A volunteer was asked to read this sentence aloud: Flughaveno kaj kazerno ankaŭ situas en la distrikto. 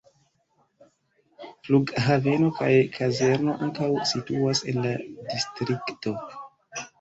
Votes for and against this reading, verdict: 1, 2, rejected